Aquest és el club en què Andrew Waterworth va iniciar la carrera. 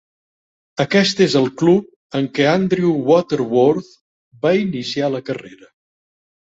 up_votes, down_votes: 3, 0